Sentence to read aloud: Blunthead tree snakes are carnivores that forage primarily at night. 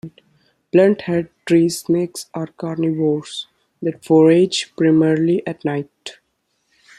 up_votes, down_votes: 2, 0